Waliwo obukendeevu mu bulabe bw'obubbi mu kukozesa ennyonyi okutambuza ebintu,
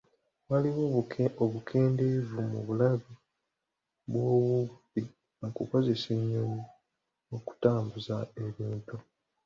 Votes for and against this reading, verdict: 2, 0, accepted